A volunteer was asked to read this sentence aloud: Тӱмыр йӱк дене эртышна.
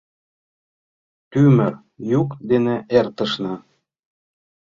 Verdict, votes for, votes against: rejected, 1, 2